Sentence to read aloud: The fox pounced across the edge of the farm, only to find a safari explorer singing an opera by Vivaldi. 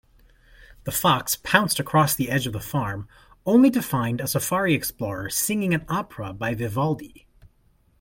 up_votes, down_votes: 2, 0